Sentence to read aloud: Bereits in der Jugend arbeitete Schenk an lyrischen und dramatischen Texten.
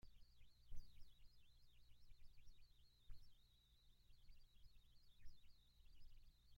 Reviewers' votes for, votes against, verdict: 0, 2, rejected